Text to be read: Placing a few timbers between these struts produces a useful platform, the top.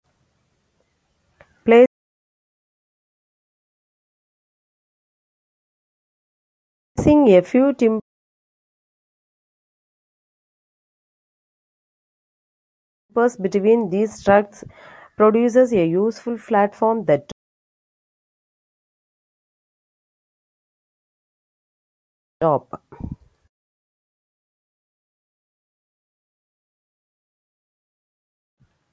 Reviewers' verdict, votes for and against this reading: rejected, 0, 2